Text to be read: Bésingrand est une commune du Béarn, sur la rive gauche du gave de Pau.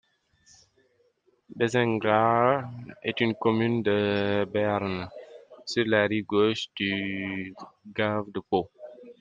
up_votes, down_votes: 0, 3